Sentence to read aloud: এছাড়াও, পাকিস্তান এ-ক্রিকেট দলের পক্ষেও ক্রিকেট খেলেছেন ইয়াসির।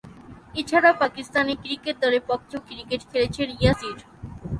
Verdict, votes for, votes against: rejected, 0, 3